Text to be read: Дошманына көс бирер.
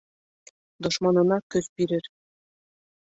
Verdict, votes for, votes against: accepted, 2, 0